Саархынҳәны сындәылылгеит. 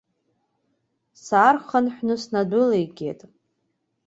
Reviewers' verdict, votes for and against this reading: rejected, 0, 2